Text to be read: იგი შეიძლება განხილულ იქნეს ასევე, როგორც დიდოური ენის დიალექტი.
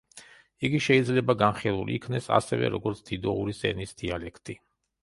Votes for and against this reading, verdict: 0, 2, rejected